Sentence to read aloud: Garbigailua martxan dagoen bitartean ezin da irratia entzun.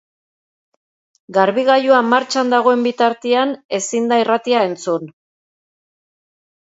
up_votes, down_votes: 2, 1